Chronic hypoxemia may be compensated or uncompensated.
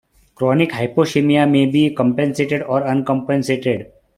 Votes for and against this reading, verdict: 2, 1, accepted